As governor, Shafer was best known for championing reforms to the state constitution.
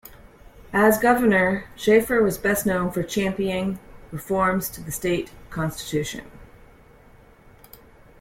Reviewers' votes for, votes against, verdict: 2, 0, accepted